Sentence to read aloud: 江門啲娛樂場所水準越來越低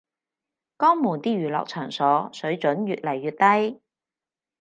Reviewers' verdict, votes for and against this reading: accepted, 4, 0